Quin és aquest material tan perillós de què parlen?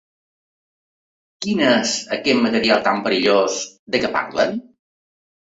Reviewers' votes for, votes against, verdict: 2, 1, accepted